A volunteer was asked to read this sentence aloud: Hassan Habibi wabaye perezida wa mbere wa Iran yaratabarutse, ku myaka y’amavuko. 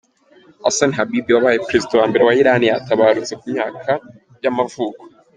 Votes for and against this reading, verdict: 3, 0, accepted